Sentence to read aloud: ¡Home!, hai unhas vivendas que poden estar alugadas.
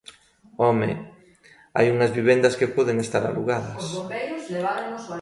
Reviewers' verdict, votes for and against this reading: rejected, 1, 2